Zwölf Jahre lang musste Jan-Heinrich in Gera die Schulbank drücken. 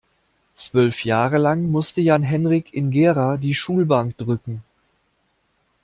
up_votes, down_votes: 1, 2